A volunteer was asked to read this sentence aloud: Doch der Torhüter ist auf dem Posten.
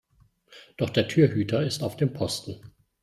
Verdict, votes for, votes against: rejected, 0, 2